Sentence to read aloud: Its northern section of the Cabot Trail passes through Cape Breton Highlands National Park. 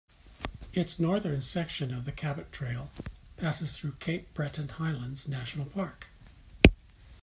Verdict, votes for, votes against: accepted, 2, 0